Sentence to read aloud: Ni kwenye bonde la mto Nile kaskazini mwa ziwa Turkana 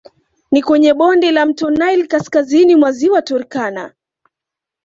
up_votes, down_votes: 2, 0